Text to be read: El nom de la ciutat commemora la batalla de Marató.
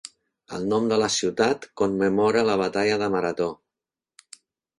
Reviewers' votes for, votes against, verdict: 3, 0, accepted